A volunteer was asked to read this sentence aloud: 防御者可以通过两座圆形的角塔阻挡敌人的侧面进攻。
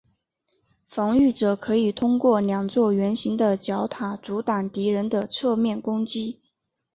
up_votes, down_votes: 2, 0